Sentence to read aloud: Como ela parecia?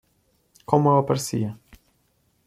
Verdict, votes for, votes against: accepted, 2, 0